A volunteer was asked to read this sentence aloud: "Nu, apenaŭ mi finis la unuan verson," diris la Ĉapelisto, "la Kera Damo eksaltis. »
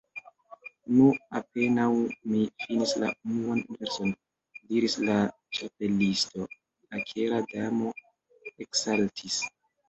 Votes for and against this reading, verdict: 1, 2, rejected